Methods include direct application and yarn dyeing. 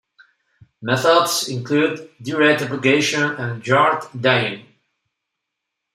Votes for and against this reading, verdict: 2, 0, accepted